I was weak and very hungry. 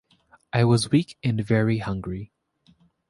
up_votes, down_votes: 2, 0